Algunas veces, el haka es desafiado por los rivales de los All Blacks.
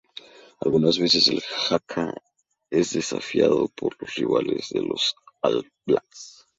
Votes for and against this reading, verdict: 4, 0, accepted